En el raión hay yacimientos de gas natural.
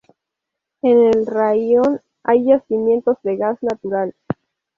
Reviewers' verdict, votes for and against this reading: accepted, 2, 0